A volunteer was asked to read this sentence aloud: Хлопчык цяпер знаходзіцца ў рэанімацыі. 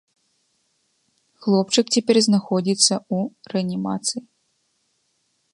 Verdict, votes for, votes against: rejected, 1, 2